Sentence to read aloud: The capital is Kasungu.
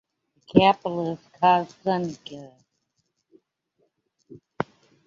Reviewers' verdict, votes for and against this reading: rejected, 0, 2